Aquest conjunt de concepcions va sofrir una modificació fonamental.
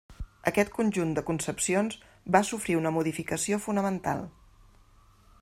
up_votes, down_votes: 3, 0